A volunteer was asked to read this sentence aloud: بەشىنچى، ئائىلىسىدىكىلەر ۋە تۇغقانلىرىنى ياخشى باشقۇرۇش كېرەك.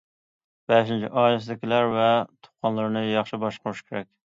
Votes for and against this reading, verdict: 2, 0, accepted